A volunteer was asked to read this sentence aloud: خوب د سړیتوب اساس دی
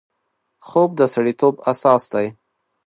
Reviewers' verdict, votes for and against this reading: accepted, 2, 0